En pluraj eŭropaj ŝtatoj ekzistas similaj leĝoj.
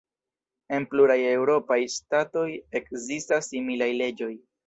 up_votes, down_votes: 0, 2